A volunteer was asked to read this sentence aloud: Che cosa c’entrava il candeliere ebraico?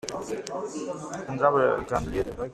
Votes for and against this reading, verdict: 0, 2, rejected